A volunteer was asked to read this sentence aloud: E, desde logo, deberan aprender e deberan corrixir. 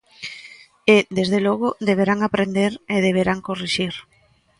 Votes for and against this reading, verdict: 1, 2, rejected